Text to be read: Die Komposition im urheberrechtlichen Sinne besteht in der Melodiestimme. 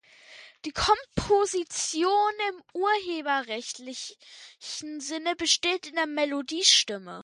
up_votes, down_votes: 2, 1